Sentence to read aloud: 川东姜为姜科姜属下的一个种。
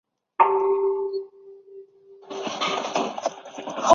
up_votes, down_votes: 0, 4